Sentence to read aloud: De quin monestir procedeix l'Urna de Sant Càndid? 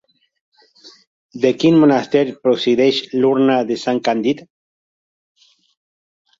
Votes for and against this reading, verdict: 1, 2, rejected